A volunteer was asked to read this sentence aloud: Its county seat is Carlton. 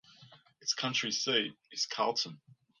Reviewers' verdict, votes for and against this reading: rejected, 0, 2